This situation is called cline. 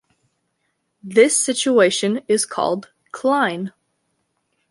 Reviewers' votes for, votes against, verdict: 2, 0, accepted